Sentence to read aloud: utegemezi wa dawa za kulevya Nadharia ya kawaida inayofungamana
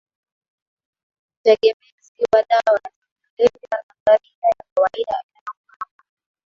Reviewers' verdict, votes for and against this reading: rejected, 2, 3